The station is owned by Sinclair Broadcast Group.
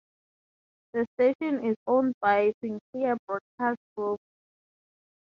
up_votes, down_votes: 3, 0